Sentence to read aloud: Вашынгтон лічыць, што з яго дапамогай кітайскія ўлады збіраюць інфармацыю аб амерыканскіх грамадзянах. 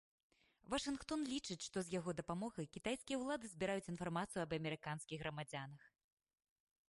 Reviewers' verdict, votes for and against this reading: accepted, 2, 0